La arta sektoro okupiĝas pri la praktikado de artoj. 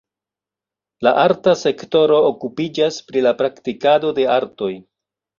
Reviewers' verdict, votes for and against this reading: accepted, 2, 1